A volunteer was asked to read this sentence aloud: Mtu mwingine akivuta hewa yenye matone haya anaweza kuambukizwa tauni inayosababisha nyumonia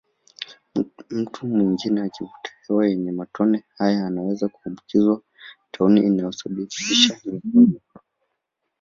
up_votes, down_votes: 0, 2